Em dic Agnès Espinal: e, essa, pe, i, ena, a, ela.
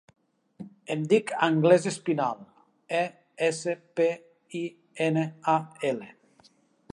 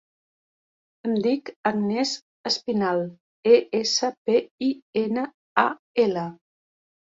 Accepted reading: second